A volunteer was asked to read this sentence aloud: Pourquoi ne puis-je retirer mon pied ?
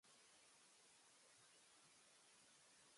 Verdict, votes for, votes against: rejected, 0, 2